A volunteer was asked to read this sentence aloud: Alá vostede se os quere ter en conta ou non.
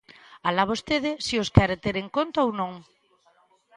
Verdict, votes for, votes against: accepted, 2, 0